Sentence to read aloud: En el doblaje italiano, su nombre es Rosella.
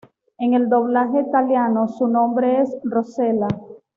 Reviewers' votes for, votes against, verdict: 1, 2, rejected